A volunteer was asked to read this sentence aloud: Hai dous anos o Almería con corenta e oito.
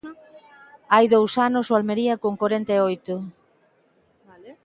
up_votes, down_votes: 0, 2